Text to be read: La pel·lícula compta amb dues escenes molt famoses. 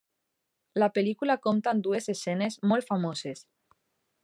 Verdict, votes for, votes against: accepted, 2, 0